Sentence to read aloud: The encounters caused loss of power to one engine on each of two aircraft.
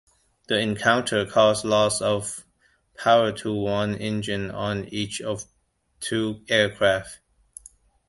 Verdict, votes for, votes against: rejected, 0, 2